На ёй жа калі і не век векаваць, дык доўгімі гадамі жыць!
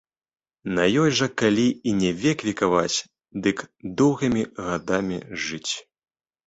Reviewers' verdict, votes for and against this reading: accepted, 2, 0